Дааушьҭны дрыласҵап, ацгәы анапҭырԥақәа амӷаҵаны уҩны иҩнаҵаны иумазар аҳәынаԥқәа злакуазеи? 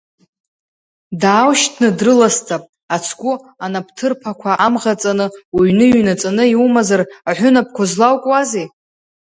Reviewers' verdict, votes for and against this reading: rejected, 1, 2